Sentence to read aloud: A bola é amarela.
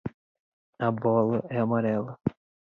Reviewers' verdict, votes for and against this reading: accepted, 2, 0